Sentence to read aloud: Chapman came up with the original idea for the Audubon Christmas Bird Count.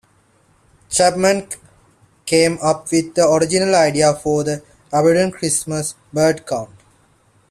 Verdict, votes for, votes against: accepted, 2, 0